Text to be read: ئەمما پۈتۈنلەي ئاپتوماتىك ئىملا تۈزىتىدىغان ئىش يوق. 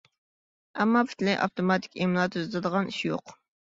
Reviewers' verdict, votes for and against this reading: accepted, 2, 0